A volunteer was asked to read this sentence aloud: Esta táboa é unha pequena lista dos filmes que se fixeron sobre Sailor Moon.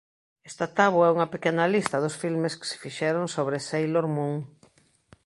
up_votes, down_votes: 2, 0